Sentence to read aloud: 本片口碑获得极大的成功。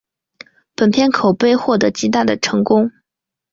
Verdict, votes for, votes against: accepted, 2, 0